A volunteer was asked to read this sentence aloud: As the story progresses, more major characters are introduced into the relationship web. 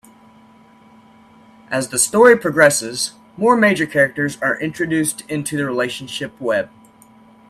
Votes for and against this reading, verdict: 2, 0, accepted